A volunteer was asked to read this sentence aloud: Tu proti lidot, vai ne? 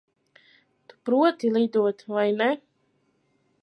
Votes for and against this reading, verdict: 0, 2, rejected